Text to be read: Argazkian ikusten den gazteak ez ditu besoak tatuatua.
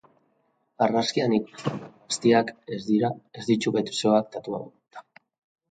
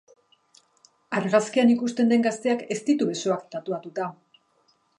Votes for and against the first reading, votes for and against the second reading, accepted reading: 0, 2, 2, 0, second